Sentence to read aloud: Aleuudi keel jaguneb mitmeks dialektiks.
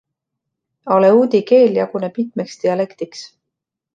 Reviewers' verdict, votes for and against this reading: accepted, 2, 1